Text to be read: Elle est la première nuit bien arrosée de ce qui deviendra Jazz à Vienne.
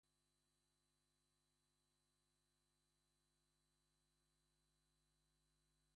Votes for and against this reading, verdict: 0, 2, rejected